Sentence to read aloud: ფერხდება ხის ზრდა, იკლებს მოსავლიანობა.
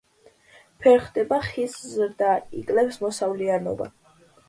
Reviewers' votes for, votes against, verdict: 1, 2, rejected